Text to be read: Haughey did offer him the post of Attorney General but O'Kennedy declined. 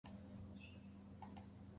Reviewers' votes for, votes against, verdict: 0, 2, rejected